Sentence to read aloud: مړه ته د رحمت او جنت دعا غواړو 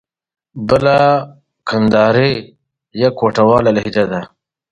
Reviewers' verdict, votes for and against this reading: rejected, 1, 2